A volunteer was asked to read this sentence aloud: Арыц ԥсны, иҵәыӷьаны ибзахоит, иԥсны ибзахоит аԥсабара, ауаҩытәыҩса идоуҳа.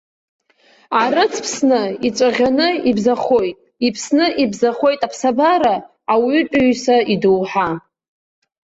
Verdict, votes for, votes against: rejected, 0, 2